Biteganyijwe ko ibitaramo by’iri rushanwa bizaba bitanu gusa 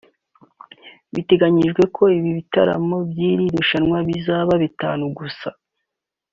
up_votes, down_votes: 2, 1